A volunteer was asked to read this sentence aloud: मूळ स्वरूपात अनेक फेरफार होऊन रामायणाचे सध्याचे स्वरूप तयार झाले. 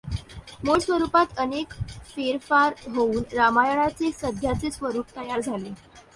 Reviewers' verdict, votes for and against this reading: accepted, 2, 0